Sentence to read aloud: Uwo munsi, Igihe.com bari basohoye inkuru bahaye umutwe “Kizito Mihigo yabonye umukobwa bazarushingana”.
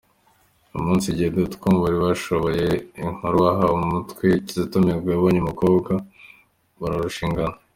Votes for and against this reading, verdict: 2, 0, accepted